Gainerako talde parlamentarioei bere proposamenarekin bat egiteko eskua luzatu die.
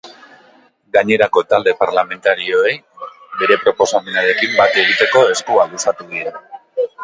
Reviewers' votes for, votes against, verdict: 2, 0, accepted